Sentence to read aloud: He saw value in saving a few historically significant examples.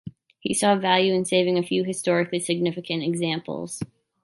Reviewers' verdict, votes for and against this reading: accepted, 3, 0